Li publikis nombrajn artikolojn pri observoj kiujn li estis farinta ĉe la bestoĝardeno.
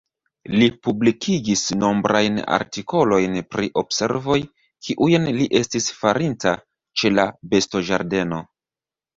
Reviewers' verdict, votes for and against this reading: rejected, 0, 2